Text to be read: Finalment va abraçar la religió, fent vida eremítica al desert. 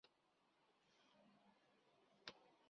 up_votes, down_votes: 0, 2